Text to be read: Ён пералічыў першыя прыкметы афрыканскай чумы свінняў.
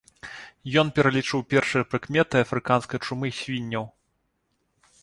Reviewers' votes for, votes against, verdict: 2, 0, accepted